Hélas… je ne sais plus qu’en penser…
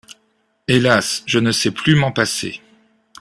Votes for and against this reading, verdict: 0, 2, rejected